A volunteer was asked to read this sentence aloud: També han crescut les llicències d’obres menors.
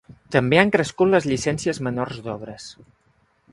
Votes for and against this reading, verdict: 0, 2, rejected